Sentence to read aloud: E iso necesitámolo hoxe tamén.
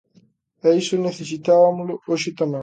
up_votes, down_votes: 0, 2